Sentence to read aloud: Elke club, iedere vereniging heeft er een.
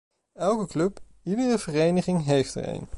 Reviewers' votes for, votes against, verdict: 2, 0, accepted